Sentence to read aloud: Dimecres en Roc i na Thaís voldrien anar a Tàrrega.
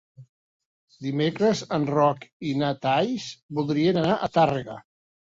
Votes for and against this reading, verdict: 1, 2, rejected